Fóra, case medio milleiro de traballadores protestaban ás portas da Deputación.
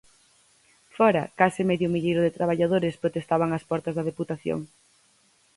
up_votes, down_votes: 4, 0